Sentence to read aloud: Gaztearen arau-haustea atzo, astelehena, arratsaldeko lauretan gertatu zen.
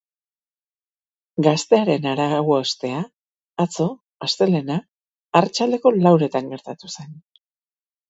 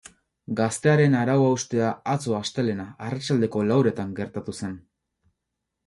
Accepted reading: second